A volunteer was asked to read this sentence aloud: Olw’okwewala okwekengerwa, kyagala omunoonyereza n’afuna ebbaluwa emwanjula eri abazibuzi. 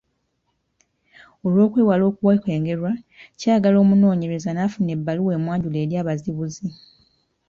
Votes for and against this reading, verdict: 0, 2, rejected